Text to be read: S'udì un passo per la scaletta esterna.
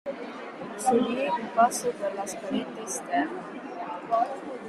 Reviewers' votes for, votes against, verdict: 0, 2, rejected